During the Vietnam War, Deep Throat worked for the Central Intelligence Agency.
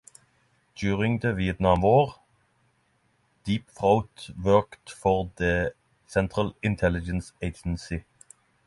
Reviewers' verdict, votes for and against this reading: accepted, 6, 0